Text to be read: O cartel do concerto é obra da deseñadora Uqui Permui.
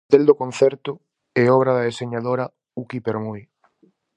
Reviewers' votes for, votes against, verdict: 0, 4, rejected